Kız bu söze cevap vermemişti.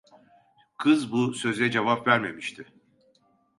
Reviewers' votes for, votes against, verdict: 1, 2, rejected